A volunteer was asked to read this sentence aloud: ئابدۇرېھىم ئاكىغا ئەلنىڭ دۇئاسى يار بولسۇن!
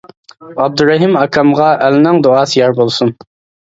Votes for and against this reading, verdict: 0, 2, rejected